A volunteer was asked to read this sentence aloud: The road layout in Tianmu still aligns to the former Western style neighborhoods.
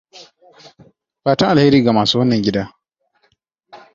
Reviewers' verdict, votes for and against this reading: rejected, 1, 2